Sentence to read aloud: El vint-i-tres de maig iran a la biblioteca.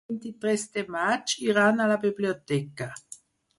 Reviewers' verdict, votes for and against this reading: rejected, 2, 4